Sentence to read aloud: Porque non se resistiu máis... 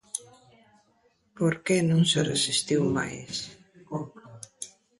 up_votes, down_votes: 0, 2